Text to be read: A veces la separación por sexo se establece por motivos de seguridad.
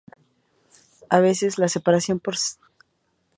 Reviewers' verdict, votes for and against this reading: rejected, 0, 2